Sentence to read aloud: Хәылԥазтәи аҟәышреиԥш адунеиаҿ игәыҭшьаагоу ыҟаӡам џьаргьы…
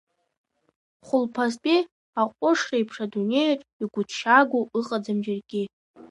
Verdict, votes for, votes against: accepted, 2, 0